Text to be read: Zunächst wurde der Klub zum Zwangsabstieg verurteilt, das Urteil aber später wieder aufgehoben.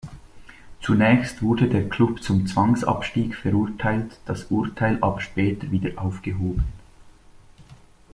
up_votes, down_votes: 2, 0